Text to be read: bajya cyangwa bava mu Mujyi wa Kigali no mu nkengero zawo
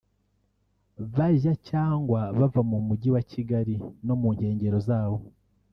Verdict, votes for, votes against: accepted, 2, 1